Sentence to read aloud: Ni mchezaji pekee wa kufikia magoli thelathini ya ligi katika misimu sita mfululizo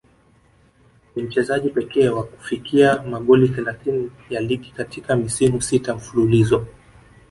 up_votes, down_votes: 1, 2